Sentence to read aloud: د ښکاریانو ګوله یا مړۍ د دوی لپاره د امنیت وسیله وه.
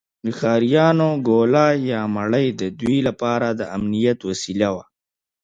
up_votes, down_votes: 3, 0